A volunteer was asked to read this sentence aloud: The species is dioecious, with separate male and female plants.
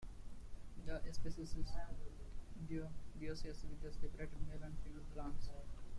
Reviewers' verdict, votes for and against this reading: rejected, 1, 3